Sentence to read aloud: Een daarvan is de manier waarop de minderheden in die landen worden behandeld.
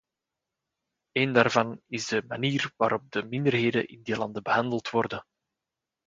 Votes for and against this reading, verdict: 0, 2, rejected